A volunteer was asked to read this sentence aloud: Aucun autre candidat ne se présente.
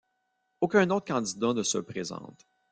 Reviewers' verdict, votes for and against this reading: rejected, 0, 2